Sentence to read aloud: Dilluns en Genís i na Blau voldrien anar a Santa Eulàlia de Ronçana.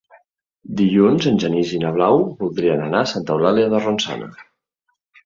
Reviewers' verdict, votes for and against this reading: accepted, 2, 0